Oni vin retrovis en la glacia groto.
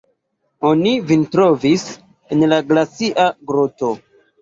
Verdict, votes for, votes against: rejected, 1, 2